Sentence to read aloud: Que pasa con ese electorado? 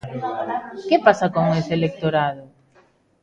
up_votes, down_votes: 1, 2